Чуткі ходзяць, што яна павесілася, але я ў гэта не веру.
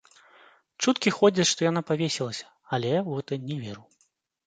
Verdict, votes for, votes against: accepted, 2, 0